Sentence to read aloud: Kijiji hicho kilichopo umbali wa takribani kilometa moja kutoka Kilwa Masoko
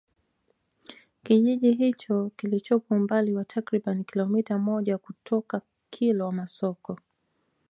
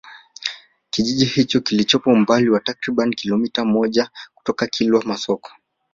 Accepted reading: first